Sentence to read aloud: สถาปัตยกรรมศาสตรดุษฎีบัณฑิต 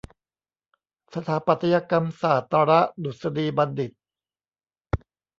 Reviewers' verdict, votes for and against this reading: rejected, 1, 2